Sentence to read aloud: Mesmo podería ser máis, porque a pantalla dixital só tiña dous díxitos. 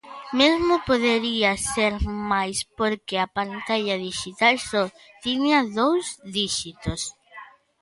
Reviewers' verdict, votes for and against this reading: rejected, 0, 2